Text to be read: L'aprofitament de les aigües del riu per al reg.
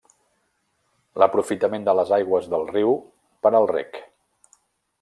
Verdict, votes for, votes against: rejected, 0, 2